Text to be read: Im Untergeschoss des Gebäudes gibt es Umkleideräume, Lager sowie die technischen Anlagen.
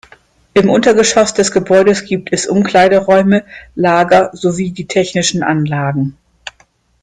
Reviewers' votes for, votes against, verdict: 2, 0, accepted